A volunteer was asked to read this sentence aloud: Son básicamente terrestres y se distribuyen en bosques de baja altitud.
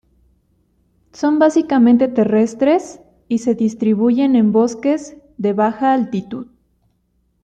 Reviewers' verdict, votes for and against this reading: accepted, 2, 0